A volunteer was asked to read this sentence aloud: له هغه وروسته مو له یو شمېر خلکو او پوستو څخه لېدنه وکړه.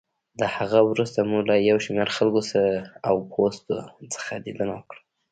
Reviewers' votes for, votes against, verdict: 1, 2, rejected